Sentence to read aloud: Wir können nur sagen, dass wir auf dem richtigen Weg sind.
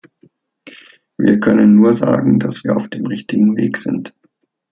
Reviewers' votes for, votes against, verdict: 2, 0, accepted